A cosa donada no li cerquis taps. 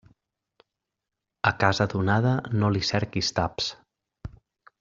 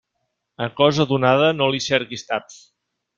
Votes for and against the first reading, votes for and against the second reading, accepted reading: 2, 3, 2, 0, second